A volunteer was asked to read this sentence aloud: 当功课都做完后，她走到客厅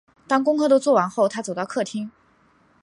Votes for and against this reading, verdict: 4, 0, accepted